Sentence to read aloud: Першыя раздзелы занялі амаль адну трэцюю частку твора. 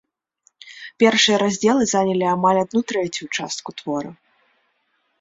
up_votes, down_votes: 1, 2